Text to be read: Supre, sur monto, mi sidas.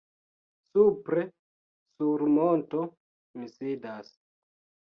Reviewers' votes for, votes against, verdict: 2, 0, accepted